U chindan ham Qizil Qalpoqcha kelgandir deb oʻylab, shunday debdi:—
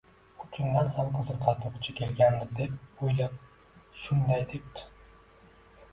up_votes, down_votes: 0, 2